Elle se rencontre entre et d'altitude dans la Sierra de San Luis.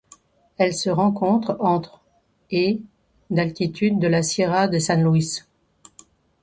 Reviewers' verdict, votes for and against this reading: rejected, 0, 2